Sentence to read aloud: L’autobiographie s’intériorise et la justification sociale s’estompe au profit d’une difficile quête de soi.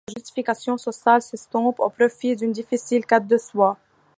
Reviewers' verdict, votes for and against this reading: rejected, 1, 2